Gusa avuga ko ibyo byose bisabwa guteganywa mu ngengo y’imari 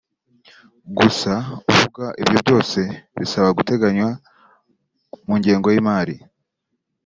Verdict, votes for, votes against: rejected, 1, 2